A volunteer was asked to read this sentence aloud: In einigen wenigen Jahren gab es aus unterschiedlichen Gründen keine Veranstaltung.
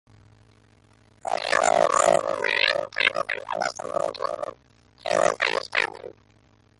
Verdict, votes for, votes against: rejected, 0, 2